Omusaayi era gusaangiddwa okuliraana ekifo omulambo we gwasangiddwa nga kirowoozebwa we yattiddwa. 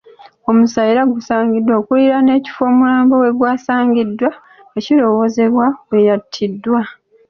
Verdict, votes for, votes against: accepted, 2, 0